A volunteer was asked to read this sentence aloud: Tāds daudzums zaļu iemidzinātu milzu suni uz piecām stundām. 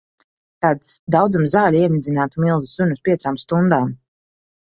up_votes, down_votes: 2, 1